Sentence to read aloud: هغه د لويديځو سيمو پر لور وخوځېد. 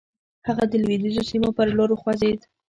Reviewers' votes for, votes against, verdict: 1, 2, rejected